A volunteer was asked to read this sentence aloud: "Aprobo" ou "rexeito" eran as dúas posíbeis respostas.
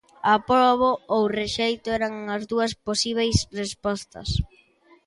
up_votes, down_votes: 2, 0